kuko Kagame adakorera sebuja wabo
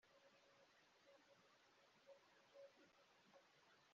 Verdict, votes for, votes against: rejected, 1, 2